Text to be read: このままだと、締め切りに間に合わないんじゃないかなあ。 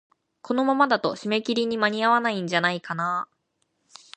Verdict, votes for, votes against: accepted, 2, 0